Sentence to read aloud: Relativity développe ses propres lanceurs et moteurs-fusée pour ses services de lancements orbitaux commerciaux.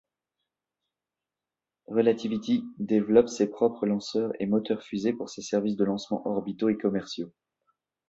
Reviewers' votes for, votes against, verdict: 1, 2, rejected